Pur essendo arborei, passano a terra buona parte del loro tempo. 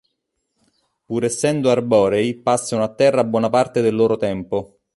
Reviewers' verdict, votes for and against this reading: accepted, 2, 0